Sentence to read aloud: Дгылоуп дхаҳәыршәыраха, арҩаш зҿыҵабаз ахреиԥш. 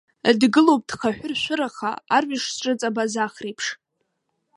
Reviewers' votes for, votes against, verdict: 2, 1, accepted